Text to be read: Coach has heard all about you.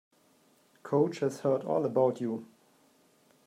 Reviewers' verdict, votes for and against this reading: accepted, 2, 0